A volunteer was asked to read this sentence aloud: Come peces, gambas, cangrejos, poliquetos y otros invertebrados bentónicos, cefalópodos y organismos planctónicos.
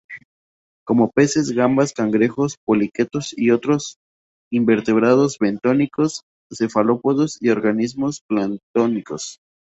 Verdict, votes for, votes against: rejected, 0, 2